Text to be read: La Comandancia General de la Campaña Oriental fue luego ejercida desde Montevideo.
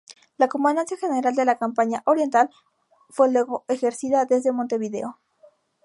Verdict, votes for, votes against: rejected, 2, 2